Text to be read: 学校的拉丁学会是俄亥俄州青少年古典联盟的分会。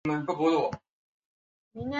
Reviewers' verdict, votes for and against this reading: rejected, 0, 2